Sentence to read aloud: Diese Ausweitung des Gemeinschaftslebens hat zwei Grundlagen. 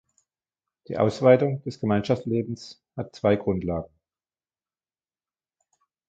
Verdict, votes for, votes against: rejected, 0, 2